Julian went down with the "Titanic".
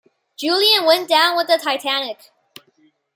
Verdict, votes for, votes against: accepted, 2, 0